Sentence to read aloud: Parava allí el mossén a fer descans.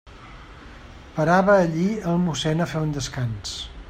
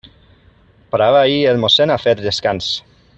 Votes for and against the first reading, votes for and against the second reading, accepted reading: 2, 0, 0, 2, first